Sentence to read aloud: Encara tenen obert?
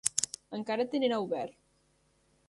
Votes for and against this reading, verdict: 0, 2, rejected